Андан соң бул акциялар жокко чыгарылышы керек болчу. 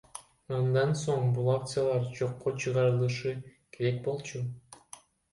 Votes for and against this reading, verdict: 1, 2, rejected